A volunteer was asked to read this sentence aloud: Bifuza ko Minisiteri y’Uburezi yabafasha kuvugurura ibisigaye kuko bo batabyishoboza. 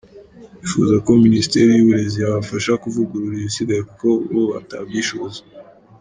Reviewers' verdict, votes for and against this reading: accepted, 2, 1